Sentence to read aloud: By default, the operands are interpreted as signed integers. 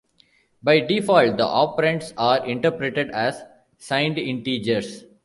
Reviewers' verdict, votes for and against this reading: accepted, 2, 1